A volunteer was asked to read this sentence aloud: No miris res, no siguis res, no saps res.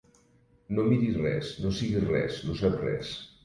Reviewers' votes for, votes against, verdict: 2, 0, accepted